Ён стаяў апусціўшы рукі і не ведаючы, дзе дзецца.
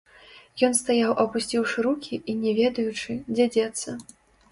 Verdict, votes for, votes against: rejected, 0, 2